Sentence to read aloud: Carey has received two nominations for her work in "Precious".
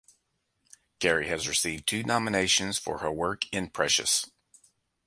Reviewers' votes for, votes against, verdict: 2, 0, accepted